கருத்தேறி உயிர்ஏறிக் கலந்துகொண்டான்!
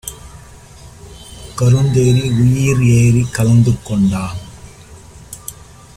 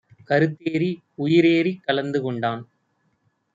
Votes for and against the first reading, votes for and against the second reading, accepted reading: 1, 2, 3, 0, second